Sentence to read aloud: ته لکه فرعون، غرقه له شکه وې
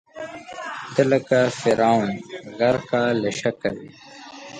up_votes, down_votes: 1, 2